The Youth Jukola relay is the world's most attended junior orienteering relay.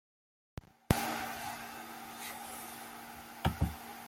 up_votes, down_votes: 0, 2